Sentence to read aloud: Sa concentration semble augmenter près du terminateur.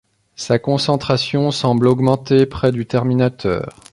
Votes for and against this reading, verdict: 2, 0, accepted